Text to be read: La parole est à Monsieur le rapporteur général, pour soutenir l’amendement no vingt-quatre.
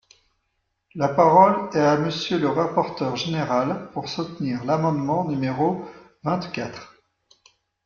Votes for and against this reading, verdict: 1, 2, rejected